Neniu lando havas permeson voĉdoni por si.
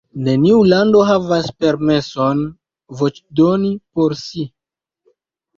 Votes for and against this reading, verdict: 0, 2, rejected